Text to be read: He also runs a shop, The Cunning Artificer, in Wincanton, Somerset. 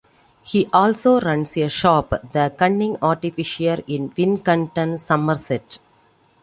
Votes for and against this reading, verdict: 2, 1, accepted